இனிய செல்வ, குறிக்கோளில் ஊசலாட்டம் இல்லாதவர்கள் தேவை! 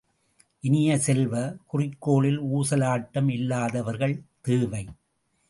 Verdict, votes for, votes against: rejected, 1, 2